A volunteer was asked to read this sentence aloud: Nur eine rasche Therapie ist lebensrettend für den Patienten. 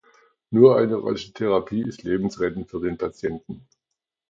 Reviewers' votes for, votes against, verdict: 2, 1, accepted